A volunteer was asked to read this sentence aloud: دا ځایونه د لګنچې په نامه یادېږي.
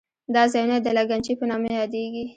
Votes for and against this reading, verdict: 1, 2, rejected